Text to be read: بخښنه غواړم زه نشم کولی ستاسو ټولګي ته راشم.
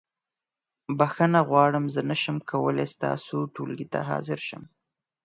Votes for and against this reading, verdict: 2, 4, rejected